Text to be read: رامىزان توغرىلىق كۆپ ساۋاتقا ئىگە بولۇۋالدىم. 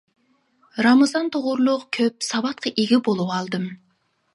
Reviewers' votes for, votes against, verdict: 2, 0, accepted